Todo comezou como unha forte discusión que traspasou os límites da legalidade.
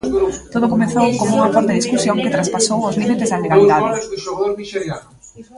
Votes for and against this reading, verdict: 0, 2, rejected